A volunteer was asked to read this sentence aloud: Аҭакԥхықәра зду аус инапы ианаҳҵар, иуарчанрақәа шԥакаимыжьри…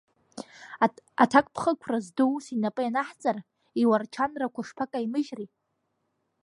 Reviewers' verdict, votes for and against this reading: rejected, 1, 2